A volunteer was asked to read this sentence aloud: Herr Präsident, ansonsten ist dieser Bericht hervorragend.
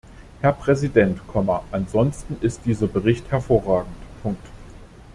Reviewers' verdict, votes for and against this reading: rejected, 0, 2